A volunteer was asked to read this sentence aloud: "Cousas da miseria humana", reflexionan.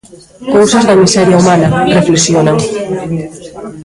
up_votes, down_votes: 1, 2